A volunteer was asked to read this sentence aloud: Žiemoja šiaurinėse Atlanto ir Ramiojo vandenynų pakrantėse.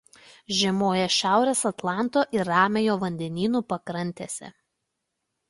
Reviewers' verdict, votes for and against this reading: rejected, 1, 2